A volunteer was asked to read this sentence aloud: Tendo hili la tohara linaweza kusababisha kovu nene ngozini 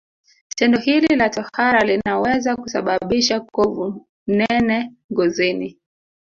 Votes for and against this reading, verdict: 2, 0, accepted